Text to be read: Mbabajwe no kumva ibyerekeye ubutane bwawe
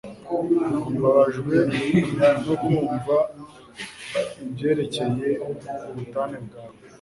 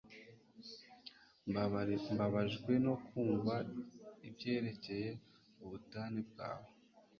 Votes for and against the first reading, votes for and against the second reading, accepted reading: 2, 0, 1, 2, first